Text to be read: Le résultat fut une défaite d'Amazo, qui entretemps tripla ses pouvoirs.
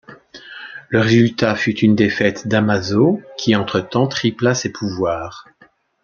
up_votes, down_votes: 2, 0